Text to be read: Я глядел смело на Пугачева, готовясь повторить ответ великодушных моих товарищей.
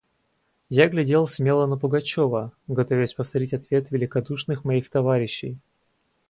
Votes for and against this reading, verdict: 0, 2, rejected